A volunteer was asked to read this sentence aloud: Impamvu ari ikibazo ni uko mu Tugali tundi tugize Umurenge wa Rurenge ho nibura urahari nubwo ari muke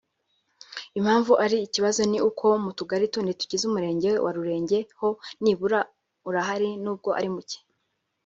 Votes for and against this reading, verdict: 2, 0, accepted